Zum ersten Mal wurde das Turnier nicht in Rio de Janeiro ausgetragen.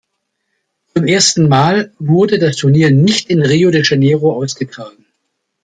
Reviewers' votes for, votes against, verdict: 2, 1, accepted